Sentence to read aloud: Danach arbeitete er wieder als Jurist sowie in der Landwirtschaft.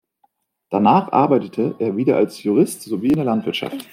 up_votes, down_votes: 2, 0